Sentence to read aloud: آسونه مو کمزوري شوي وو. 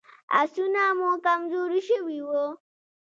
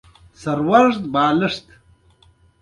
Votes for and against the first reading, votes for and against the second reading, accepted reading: 2, 0, 0, 2, first